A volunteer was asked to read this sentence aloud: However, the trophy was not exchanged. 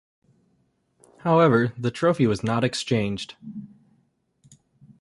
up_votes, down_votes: 2, 0